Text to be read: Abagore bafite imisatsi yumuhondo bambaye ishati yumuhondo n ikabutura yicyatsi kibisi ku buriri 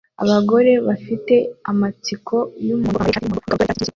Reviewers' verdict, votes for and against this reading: rejected, 0, 2